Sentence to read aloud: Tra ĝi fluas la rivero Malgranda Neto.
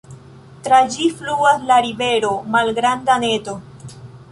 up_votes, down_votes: 2, 0